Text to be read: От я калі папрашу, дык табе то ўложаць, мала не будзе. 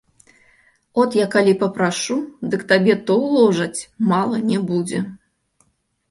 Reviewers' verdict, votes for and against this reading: accepted, 2, 0